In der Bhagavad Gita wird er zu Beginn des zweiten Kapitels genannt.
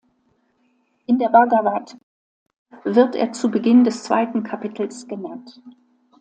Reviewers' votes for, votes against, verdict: 0, 2, rejected